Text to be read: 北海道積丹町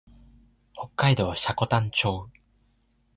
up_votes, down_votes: 2, 0